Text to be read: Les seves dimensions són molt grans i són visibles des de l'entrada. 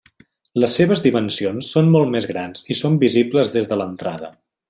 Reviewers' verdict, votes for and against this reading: rejected, 1, 2